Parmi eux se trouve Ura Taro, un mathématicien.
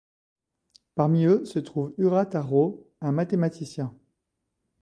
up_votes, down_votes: 2, 0